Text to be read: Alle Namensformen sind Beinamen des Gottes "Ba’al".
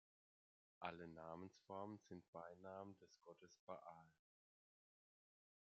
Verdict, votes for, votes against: rejected, 1, 2